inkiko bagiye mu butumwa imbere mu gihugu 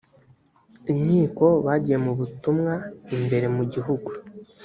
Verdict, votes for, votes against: accepted, 2, 0